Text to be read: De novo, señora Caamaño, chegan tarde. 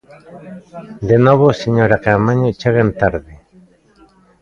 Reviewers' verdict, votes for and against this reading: accepted, 2, 1